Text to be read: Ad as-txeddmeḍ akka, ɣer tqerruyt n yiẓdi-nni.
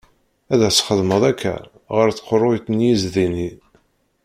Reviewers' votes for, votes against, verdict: 1, 2, rejected